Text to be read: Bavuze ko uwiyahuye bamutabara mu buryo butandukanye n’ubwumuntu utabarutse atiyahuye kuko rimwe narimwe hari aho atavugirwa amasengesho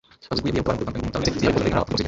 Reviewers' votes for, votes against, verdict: 1, 2, rejected